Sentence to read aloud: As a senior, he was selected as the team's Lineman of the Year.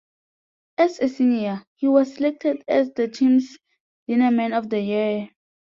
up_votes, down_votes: 1, 5